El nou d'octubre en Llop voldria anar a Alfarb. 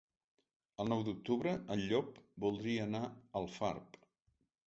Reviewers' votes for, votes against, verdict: 1, 2, rejected